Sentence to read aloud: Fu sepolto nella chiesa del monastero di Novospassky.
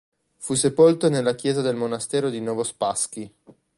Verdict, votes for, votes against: accepted, 2, 0